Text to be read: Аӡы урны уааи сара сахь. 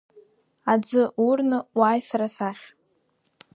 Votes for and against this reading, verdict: 2, 0, accepted